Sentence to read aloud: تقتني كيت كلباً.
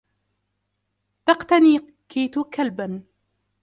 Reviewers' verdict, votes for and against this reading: rejected, 1, 2